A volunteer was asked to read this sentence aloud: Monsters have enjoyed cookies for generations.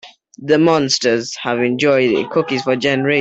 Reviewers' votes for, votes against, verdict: 0, 3, rejected